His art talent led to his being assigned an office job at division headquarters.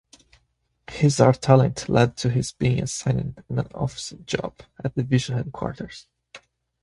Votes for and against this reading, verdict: 2, 1, accepted